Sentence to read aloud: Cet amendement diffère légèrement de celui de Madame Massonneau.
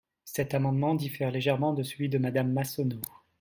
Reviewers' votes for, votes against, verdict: 2, 0, accepted